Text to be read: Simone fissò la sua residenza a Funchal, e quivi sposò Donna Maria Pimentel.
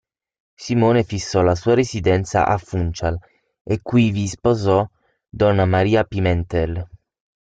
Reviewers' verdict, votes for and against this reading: accepted, 6, 0